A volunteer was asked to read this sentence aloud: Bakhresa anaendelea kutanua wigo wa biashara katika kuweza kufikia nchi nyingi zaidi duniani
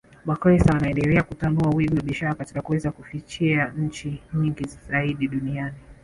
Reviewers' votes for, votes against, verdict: 1, 2, rejected